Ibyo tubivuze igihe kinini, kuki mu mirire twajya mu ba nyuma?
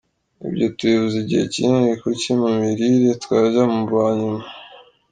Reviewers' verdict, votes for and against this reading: accepted, 2, 0